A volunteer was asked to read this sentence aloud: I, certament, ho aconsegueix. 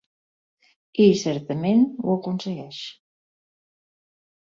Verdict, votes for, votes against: accepted, 4, 0